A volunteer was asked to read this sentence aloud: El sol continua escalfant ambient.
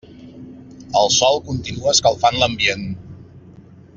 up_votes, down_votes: 0, 2